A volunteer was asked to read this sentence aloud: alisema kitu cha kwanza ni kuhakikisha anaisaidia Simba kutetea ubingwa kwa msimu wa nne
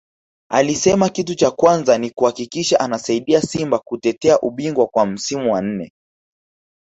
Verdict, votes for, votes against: accepted, 2, 0